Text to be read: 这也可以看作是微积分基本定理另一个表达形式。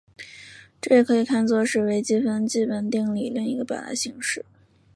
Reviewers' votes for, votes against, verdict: 2, 0, accepted